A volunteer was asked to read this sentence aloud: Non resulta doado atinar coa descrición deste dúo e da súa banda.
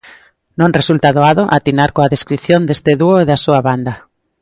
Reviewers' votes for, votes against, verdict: 2, 0, accepted